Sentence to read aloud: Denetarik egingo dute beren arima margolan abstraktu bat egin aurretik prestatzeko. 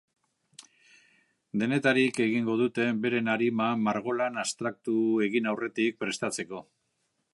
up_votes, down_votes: 1, 2